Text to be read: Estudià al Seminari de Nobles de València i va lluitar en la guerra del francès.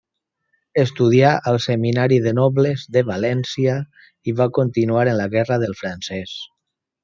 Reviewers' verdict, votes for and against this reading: rejected, 0, 2